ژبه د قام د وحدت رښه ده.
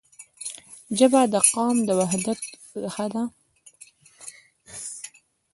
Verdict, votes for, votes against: rejected, 0, 2